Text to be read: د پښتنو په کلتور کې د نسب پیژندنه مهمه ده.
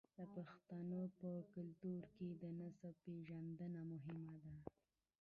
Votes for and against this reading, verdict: 0, 2, rejected